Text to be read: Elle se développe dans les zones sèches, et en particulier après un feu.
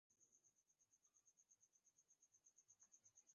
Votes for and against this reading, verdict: 0, 2, rejected